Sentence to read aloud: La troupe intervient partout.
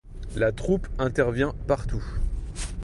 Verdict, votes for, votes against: accepted, 2, 0